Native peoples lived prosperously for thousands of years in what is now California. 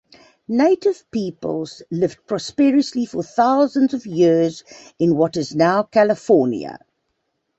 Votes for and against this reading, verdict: 2, 0, accepted